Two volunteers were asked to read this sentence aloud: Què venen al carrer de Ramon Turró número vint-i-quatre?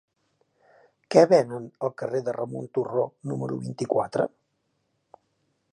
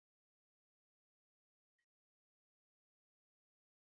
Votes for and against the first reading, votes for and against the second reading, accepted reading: 2, 0, 0, 2, first